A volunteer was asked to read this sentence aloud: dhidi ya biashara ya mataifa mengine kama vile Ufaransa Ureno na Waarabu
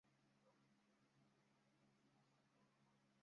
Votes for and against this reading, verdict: 0, 2, rejected